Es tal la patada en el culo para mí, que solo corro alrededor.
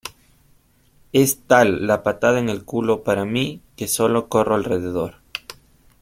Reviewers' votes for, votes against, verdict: 2, 1, accepted